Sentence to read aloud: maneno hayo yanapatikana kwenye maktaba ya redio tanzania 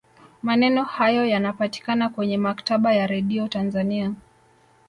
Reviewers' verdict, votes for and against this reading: rejected, 1, 2